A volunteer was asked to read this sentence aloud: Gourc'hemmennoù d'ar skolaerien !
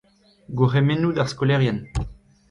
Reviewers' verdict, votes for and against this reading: rejected, 0, 2